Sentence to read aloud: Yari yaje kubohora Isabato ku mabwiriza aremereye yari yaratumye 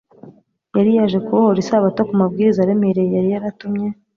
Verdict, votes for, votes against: accepted, 2, 0